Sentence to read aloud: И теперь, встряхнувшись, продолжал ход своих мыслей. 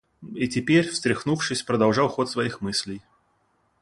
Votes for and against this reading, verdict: 2, 0, accepted